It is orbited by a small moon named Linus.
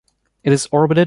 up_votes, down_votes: 0, 2